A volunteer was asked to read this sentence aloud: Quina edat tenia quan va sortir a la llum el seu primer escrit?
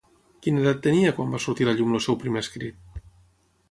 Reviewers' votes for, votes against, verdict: 0, 6, rejected